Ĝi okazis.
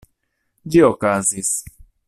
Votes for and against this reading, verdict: 2, 1, accepted